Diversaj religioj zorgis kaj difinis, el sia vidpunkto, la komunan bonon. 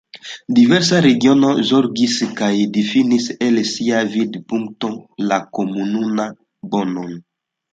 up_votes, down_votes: 1, 2